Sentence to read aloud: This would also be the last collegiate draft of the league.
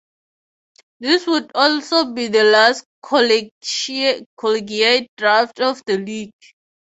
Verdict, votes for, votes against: rejected, 0, 3